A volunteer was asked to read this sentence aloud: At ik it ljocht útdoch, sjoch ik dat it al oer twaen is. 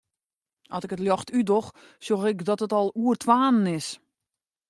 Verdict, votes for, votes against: accepted, 2, 0